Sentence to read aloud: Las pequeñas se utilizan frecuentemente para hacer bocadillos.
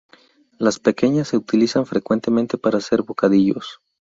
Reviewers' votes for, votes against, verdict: 2, 0, accepted